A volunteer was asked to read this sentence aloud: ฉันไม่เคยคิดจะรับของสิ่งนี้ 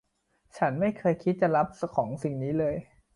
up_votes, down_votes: 0, 2